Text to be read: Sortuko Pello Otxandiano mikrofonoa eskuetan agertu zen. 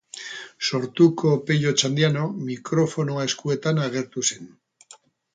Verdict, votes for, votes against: accepted, 2, 0